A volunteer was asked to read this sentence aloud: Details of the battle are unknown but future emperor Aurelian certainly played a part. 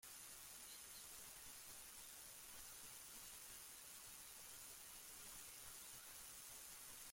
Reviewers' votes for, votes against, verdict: 0, 2, rejected